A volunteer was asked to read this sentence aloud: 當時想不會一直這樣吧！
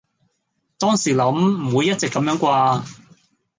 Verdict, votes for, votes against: rejected, 0, 2